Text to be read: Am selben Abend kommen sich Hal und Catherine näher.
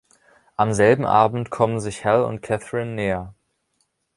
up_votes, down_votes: 2, 0